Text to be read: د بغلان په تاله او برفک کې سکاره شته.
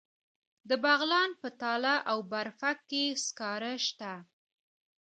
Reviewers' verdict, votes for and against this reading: accepted, 2, 0